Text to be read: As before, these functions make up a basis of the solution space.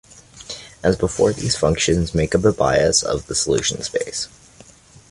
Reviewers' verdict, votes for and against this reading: rejected, 0, 2